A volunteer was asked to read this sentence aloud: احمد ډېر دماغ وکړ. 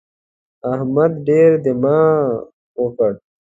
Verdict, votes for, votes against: accepted, 2, 0